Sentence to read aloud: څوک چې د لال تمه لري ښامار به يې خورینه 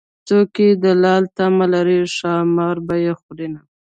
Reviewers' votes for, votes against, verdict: 3, 1, accepted